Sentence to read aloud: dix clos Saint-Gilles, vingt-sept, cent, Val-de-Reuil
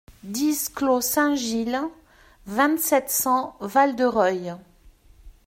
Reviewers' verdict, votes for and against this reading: accepted, 2, 1